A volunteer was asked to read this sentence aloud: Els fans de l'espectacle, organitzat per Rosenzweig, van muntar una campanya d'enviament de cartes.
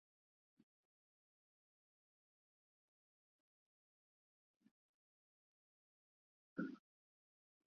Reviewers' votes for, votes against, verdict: 0, 2, rejected